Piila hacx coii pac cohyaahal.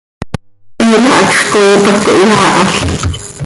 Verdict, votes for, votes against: rejected, 1, 2